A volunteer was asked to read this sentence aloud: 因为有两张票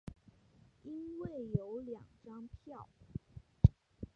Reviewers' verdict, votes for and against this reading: rejected, 1, 2